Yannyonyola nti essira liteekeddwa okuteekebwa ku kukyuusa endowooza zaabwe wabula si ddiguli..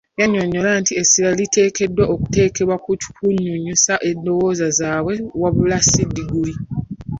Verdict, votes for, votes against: rejected, 1, 3